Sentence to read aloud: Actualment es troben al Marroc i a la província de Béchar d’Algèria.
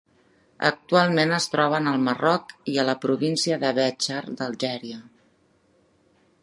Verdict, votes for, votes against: accepted, 2, 0